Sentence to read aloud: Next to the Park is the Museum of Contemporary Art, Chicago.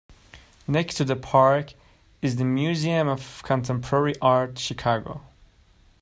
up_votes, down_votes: 1, 2